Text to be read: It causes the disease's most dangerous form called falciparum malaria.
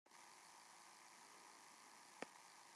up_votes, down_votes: 0, 3